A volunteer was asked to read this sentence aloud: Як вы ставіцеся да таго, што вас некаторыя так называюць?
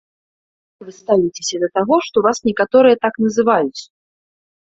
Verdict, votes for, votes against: rejected, 0, 2